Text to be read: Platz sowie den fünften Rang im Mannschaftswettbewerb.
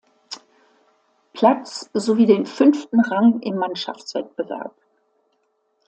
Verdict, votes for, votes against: accepted, 2, 0